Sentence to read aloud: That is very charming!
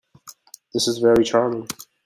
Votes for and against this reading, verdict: 1, 2, rejected